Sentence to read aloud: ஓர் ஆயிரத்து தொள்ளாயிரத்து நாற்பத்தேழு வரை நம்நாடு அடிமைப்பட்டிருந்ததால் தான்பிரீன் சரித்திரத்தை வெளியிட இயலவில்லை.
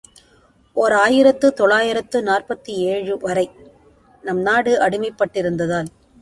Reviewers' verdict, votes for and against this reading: rejected, 0, 2